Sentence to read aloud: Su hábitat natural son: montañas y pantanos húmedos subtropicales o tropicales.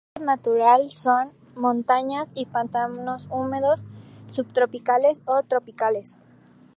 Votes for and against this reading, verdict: 2, 0, accepted